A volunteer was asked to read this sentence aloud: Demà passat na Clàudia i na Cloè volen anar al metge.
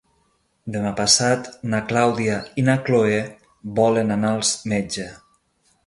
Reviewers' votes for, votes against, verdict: 0, 2, rejected